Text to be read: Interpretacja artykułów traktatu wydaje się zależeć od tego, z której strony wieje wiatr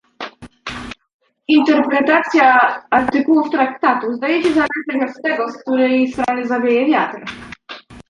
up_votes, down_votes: 0, 2